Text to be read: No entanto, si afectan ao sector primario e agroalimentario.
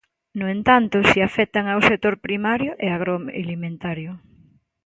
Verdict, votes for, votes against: rejected, 0, 2